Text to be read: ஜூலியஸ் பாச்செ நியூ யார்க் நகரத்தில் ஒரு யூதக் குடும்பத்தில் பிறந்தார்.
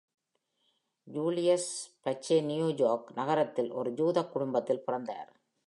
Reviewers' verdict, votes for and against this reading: rejected, 1, 2